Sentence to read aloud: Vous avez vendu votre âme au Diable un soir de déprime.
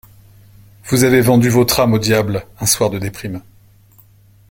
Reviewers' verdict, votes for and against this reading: accepted, 2, 0